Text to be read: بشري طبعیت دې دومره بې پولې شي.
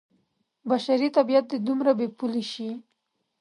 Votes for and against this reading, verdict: 2, 0, accepted